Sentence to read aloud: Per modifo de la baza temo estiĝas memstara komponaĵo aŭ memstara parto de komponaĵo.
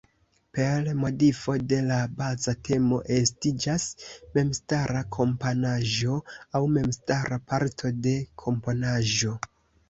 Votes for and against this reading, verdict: 0, 2, rejected